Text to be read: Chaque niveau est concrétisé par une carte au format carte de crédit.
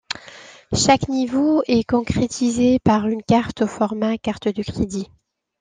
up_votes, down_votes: 2, 0